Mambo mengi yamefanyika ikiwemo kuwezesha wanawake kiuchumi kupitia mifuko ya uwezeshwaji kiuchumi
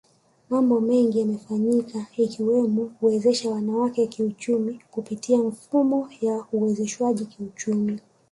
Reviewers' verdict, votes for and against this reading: accepted, 2, 1